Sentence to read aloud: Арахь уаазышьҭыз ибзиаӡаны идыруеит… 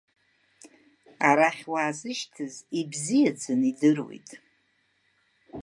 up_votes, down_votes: 2, 0